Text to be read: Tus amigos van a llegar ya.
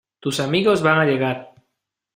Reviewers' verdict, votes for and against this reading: rejected, 0, 2